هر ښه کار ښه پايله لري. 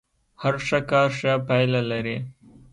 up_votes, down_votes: 2, 0